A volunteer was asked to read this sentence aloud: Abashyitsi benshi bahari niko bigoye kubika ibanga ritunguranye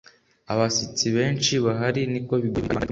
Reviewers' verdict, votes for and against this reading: accepted, 2, 0